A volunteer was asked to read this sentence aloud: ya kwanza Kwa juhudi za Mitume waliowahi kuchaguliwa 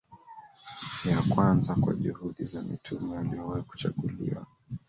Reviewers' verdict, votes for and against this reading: rejected, 1, 2